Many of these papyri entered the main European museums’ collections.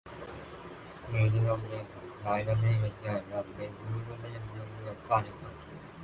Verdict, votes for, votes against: rejected, 0, 2